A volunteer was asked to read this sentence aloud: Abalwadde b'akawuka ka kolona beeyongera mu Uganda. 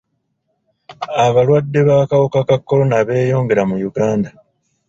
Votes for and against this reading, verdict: 1, 2, rejected